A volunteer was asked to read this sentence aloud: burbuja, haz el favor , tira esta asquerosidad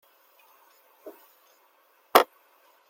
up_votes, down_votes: 0, 2